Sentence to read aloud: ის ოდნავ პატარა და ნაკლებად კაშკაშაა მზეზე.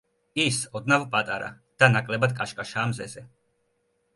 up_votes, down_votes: 2, 0